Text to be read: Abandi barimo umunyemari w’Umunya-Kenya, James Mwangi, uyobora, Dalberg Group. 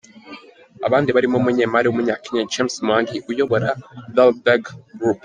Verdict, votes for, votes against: accepted, 2, 0